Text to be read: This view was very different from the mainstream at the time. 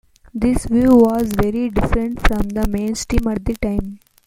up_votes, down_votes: 2, 0